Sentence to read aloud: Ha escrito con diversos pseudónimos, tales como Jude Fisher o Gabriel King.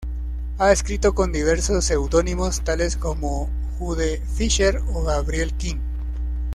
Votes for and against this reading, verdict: 2, 0, accepted